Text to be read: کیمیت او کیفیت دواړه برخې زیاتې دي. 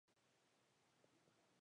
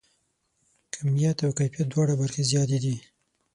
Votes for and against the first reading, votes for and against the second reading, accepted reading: 0, 2, 9, 0, second